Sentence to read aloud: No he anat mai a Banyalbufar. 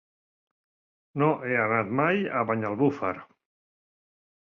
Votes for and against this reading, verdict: 3, 0, accepted